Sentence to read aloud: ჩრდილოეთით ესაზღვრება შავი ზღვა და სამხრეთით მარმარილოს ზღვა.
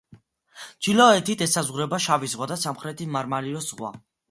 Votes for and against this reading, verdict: 2, 0, accepted